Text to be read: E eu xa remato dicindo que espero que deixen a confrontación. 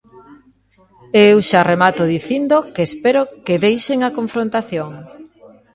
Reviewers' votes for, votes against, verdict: 1, 2, rejected